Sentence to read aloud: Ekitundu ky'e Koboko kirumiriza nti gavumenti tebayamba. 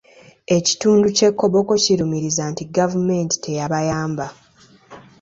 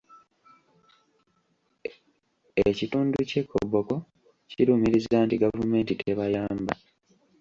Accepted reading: first